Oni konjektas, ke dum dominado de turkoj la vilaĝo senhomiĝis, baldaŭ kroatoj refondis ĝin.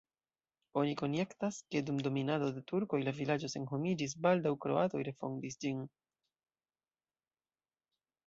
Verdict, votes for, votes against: rejected, 0, 2